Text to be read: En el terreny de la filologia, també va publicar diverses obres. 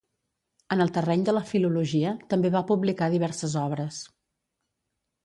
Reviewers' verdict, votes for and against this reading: accepted, 2, 0